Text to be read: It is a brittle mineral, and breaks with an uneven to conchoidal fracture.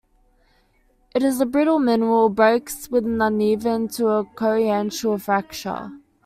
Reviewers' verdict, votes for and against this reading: rejected, 0, 2